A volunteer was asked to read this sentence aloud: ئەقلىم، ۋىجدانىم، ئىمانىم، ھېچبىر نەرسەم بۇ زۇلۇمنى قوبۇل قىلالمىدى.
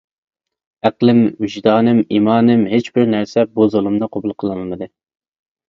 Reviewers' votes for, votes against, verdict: 1, 2, rejected